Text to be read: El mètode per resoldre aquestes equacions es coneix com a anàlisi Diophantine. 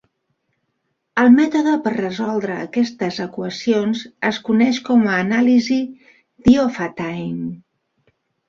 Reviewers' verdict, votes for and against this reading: rejected, 1, 3